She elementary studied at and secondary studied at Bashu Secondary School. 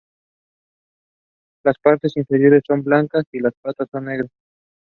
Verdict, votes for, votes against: rejected, 0, 2